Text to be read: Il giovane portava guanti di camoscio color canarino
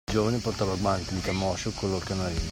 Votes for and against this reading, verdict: 0, 2, rejected